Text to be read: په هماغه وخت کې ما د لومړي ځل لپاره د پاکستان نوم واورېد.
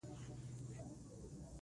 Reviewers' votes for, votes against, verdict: 2, 1, accepted